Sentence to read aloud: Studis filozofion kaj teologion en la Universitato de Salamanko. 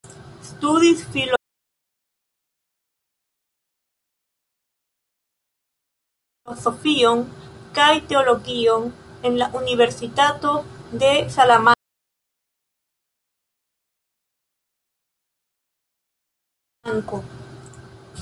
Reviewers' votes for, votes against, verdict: 0, 2, rejected